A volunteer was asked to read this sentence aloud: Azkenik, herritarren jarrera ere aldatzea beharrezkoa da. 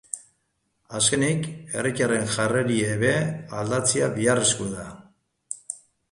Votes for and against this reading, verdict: 1, 3, rejected